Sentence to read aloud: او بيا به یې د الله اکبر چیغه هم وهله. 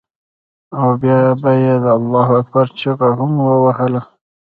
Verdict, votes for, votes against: rejected, 0, 2